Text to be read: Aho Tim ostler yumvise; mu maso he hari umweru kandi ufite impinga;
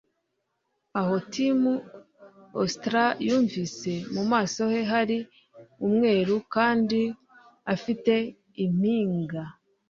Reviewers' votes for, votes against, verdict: 1, 2, rejected